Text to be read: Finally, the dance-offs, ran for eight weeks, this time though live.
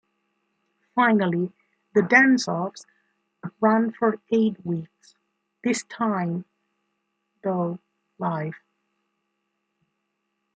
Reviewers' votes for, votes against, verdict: 2, 0, accepted